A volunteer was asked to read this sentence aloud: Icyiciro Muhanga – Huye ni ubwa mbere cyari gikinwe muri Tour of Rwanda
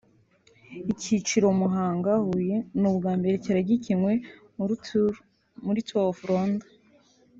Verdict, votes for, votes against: rejected, 1, 2